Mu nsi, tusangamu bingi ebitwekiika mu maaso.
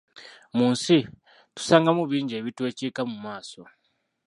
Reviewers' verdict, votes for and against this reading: rejected, 1, 2